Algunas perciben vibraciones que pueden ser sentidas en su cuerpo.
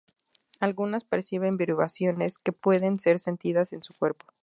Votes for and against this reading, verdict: 2, 2, rejected